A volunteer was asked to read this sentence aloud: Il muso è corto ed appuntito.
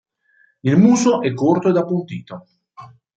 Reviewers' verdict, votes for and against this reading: accepted, 2, 0